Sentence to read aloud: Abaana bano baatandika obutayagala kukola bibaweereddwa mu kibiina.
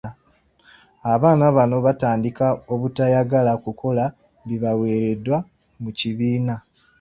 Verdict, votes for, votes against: accepted, 2, 0